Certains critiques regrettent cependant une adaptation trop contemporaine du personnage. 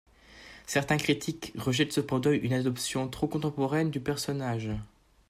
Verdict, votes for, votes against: rejected, 1, 2